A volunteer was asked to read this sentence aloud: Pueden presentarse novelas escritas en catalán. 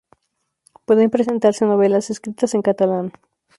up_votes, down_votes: 0, 2